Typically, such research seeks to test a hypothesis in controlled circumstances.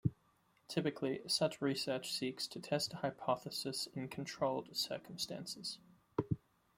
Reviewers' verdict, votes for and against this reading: rejected, 0, 2